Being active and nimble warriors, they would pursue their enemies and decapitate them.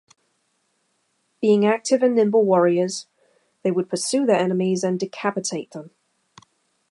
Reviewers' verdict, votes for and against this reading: accepted, 2, 0